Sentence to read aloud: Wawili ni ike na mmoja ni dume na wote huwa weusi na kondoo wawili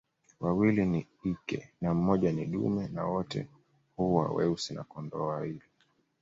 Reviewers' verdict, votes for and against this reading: accepted, 2, 0